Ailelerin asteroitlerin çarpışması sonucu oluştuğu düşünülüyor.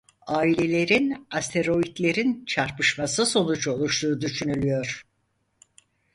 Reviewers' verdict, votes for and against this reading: accepted, 4, 0